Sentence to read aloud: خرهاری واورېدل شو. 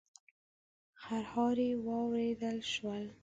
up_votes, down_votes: 0, 2